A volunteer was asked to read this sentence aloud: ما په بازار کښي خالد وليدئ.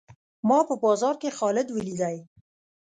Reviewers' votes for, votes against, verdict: 2, 0, accepted